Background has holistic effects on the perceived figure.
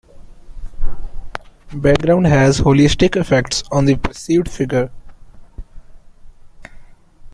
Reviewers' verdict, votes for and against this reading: accepted, 2, 0